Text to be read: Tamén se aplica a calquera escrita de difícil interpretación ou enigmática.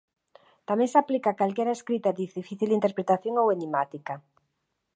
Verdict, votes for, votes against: rejected, 0, 2